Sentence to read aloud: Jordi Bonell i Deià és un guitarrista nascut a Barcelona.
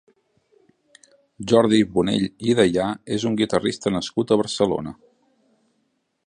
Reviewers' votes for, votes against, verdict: 3, 0, accepted